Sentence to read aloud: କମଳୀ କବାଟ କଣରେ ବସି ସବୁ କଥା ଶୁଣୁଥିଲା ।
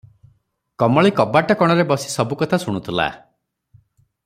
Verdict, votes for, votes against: accepted, 3, 0